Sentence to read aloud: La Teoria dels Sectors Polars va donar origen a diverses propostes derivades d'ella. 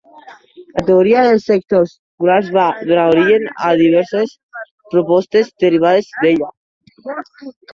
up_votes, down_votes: 1, 2